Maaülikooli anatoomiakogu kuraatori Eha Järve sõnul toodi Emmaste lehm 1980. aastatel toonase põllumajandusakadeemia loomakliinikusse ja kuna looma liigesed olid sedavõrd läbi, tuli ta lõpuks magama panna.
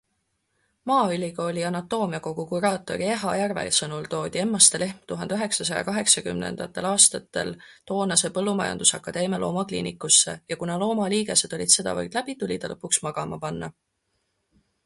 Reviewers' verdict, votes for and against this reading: rejected, 0, 2